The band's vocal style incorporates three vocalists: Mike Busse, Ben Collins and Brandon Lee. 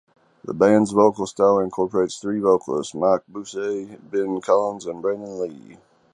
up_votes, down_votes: 2, 0